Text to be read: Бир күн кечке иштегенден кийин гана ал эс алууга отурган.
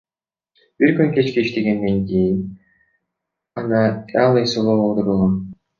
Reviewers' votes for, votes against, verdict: 0, 2, rejected